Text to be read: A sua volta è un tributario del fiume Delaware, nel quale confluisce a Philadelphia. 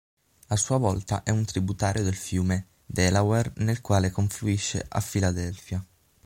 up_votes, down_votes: 6, 0